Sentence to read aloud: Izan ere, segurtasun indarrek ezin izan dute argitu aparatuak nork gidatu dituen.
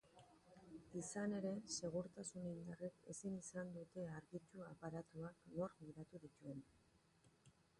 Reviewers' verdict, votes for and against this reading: rejected, 1, 2